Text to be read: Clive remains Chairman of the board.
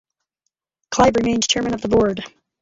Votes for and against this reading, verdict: 0, 2, rejected